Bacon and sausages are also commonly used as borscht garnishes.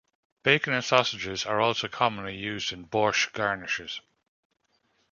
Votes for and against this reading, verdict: 0, 2, rejected